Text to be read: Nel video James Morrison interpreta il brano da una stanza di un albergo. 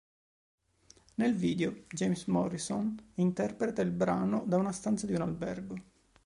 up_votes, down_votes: 2, 0